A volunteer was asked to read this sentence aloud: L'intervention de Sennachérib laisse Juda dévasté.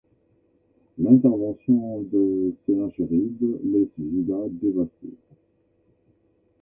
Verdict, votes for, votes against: accepted, 2, 0